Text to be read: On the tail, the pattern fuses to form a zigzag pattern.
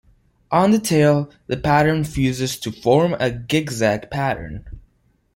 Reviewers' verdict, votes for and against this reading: rejected, 1, 2